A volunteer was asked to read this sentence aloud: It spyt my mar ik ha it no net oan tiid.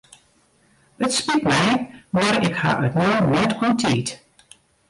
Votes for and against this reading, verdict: 0, 2, rejected